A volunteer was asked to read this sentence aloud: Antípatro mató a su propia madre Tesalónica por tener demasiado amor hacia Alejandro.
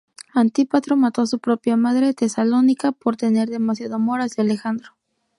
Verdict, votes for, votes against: accepted, 2, 0